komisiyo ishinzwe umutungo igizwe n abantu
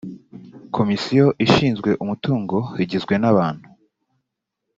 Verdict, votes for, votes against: accepted, 2, 0